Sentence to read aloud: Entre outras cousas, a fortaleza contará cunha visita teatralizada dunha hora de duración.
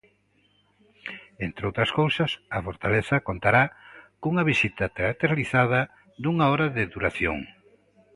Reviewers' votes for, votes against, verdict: 2, 0, accepted